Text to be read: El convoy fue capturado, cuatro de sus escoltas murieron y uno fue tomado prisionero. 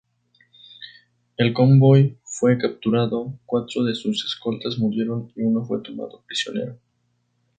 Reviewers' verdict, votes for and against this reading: accepted, 2, 0